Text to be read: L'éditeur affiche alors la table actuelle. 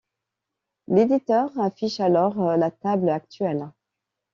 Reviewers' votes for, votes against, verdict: 2, 0, accepted